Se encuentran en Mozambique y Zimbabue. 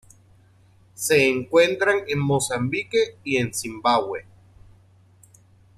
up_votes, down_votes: 0, 2